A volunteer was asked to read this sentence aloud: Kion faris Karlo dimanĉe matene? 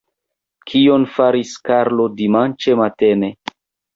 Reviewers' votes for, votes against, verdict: 2, 0, accepted